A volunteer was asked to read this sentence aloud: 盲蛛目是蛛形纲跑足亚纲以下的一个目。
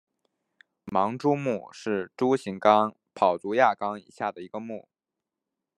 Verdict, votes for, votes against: accepted, 2, 0